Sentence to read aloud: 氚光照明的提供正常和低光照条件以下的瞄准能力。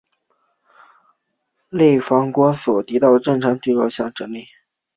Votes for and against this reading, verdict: 1, 2, rejected